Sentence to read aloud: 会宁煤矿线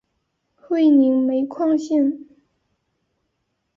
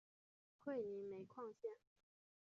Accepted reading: first